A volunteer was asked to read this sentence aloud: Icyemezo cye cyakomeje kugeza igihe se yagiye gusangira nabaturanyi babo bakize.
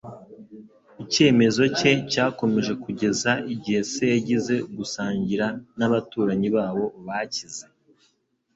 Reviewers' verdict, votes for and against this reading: rejected, 0, 2